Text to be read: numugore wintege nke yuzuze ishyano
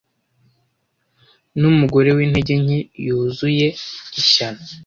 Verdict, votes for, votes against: rejected, 1, 2